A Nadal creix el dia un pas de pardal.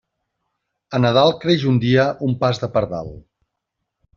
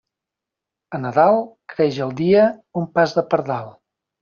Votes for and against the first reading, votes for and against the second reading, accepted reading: 1, 2, 2, 0, second